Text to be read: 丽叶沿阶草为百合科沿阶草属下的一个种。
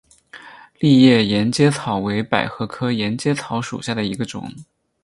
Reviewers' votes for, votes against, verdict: 6, 0, accepted